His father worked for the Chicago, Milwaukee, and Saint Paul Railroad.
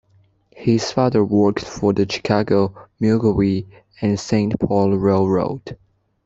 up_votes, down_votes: 1, 2